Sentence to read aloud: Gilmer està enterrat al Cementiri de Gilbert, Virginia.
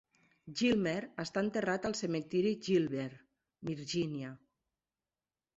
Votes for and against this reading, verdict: 0, 2, rejected